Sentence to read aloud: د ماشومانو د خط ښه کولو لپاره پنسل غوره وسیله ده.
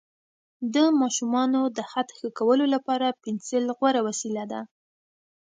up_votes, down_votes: 2, 0